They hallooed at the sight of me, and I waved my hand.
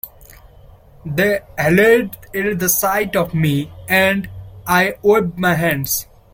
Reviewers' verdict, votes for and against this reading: rejected, 0, 2